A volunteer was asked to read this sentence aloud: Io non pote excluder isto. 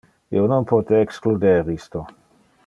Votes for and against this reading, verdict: 2, 0, accepted